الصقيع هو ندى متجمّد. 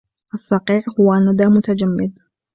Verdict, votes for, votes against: accepted, 2, 0